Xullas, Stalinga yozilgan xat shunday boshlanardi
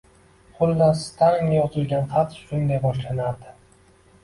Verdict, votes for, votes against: accepted, 2, 0